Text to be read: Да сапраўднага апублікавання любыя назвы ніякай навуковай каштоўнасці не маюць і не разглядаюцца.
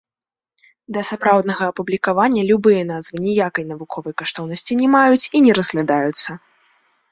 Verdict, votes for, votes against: accepted, 2, 0